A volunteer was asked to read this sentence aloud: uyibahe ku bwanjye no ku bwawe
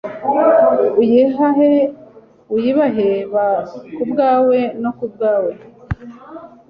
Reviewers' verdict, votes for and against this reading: rejected, 1, 2